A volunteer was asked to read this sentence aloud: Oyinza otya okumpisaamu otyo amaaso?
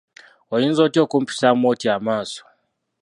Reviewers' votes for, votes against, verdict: 1, 2, rejected